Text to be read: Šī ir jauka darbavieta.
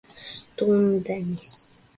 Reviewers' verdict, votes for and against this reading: rejected, 0, 2